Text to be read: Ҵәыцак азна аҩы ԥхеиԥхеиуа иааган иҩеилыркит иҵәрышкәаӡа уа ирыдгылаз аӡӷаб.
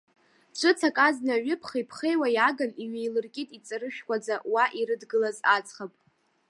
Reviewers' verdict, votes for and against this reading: accepted, 2, 0